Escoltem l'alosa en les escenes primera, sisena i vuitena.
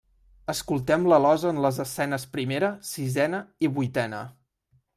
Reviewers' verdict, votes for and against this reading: accepted, 2, 0